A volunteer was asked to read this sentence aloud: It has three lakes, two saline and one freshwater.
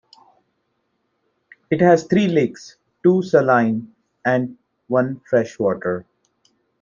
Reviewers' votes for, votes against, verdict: 2, 0, accepted